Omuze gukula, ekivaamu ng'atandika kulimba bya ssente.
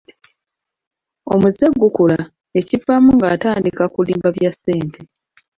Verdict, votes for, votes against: accepted, 2, 0